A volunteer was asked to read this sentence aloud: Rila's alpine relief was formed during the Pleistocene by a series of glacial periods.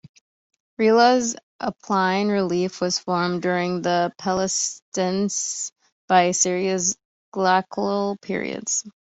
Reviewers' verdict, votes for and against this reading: rejected, 1, 2